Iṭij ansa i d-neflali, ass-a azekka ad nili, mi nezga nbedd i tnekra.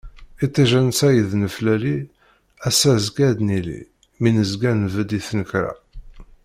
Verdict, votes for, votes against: accepted, 2, 0